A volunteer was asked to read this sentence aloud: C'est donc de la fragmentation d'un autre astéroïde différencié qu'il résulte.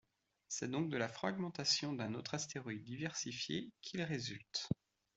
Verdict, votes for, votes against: rejected, 0, 2